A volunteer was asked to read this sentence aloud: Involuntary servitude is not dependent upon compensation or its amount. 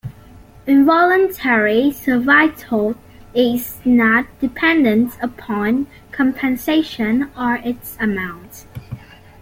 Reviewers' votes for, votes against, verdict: 0, 2, rejected